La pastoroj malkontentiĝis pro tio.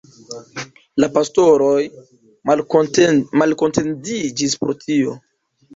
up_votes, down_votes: 0, 2